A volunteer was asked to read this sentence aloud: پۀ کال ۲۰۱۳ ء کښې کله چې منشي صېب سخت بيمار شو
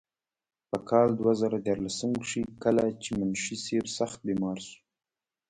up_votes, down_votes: 0, 2